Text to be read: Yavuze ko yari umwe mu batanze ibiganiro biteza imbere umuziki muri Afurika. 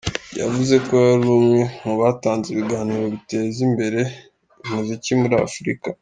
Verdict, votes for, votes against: accepted, 3, 2